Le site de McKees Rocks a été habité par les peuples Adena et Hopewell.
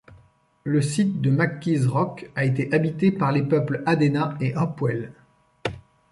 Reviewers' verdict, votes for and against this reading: rejected, 0, 2